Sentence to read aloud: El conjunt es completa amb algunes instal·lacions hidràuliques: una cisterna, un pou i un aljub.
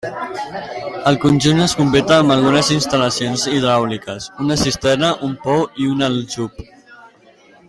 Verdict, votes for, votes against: rejected, 0, 2